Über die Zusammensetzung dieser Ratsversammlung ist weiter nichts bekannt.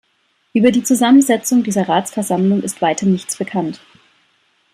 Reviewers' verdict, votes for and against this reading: accepted, 2, 0